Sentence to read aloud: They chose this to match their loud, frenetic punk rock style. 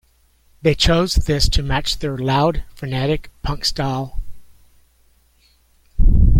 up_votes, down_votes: 0, 2